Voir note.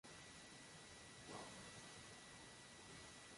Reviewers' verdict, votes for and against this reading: rejected, 0, 2